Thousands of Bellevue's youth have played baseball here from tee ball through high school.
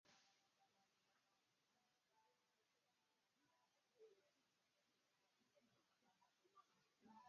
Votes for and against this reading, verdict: 0, 2, rejected